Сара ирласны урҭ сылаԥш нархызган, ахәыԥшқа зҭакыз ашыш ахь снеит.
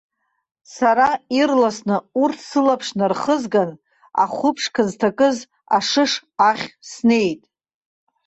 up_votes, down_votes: 0, 2